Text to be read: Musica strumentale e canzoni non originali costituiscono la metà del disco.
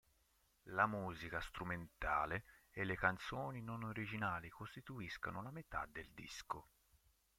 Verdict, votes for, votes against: rejected, 0, 3